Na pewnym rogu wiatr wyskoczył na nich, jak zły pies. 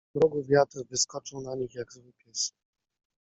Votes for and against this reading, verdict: 0, 2, rejected